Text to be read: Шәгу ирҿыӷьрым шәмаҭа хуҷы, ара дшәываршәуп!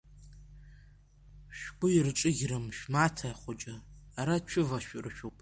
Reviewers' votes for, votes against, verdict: 1, 2, rejected